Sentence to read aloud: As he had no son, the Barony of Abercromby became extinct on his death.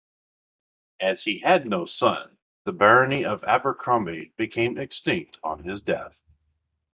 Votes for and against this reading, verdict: 2, 1, accepted